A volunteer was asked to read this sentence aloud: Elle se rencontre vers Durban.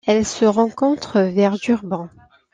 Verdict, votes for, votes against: accepted, 2, 0